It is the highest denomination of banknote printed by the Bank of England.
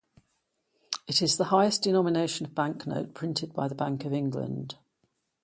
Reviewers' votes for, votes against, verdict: 2, 0, accepted